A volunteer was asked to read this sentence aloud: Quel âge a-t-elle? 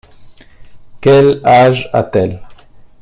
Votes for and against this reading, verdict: 2, 0, accepted